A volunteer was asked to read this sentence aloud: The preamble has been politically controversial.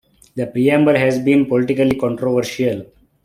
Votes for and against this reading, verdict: 0, 2, rejected